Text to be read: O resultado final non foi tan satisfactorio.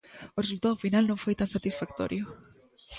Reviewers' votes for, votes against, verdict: 1, 2, rejected